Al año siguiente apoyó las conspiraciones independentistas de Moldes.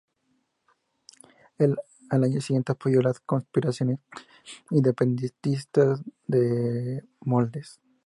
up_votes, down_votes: 0, 2